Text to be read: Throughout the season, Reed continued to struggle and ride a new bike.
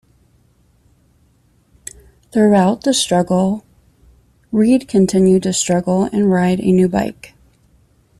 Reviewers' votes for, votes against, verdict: 1, 2, rejected